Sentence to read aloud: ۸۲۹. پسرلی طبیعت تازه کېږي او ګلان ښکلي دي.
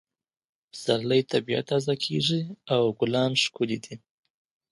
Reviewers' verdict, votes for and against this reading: rejected, 0, 2